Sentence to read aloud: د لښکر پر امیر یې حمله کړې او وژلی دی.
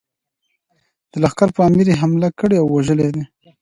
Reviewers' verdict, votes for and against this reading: accepted, 2, 0